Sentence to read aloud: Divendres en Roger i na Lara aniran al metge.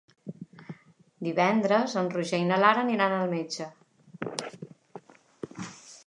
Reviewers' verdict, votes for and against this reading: accepted, 3, 0